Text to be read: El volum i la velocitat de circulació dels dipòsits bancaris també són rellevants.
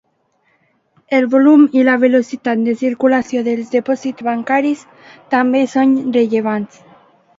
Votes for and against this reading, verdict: 2, 0, accepted